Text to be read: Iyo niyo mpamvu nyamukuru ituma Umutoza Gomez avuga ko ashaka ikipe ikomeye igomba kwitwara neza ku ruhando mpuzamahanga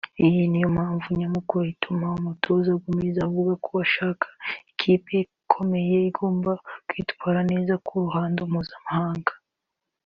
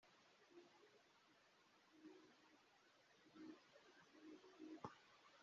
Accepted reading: first